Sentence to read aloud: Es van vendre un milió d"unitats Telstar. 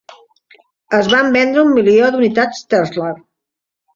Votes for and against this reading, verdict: 2, 1, accepted